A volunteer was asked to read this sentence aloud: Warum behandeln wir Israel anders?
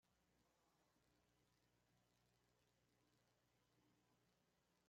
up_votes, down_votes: 0, 2